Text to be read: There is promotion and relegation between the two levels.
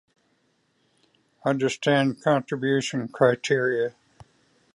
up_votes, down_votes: 0, 2